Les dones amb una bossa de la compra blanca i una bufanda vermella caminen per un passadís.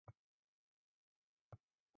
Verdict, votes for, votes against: rejected, 0, 4